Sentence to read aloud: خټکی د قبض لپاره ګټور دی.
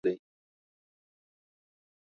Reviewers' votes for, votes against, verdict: 1, 2, rejected